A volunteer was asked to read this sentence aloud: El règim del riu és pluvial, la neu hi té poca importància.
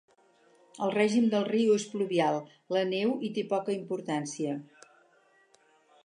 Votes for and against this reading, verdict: 4, 0, accepted